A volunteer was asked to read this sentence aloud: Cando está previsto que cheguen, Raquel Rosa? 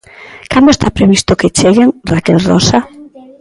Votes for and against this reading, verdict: 1, 2, rejected